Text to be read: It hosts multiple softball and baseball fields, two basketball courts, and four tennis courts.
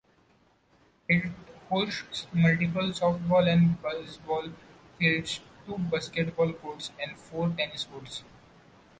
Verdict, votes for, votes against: rejected, 1, 2